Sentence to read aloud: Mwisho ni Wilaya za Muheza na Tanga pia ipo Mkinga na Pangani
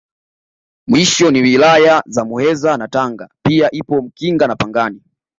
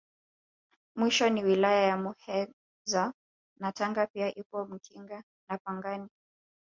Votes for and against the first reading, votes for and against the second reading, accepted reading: 2, 1, 1, 2, first